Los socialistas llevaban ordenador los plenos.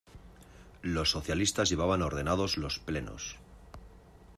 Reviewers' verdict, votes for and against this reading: rejected, 0, 2